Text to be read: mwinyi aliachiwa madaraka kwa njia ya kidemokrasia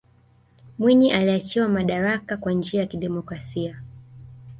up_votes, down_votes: 2, 0